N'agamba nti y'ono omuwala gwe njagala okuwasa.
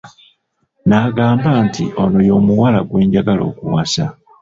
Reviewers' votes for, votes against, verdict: 1, 2, rejected